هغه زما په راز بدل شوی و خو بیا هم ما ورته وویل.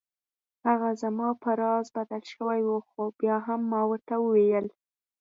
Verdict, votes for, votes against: accepted, 4, 0